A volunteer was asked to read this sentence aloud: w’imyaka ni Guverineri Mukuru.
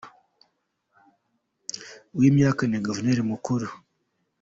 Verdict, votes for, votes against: accepted, 2, 1